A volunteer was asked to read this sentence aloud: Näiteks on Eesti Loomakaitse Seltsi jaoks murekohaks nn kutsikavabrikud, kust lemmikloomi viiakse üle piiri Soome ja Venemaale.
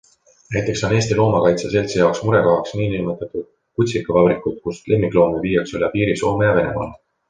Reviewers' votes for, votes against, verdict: 3, 1, accepted